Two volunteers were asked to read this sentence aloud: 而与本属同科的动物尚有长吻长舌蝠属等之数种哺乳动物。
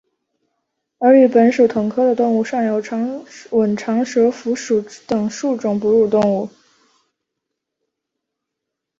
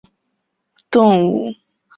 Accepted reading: first